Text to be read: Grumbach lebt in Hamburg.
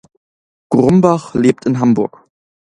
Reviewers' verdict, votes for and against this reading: accepted, 2, 0